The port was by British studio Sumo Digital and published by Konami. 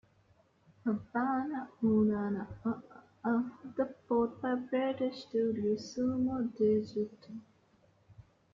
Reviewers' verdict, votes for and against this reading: rejected, 0, 2